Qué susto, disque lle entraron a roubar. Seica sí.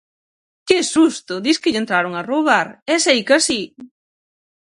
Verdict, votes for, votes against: rejected, 0, 6